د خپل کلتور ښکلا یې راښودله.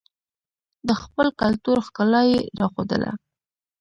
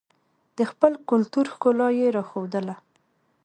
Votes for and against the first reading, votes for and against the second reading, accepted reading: 1, 2, 3, 0, second